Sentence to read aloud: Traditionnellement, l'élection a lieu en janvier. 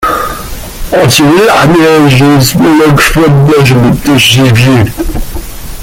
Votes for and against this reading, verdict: 0, 2, rejected